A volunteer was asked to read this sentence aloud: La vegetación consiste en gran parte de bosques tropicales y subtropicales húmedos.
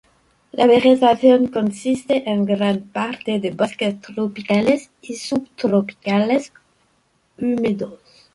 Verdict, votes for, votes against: rejected, 0, 2